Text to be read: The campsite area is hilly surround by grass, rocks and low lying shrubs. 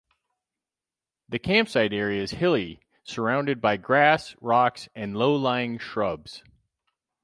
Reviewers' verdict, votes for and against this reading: accepted, 4, 0